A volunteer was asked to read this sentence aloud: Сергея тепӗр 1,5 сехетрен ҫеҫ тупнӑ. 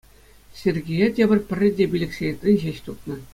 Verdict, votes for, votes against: rejected, 0, 2